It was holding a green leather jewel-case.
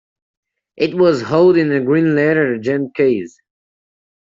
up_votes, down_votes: 0, 2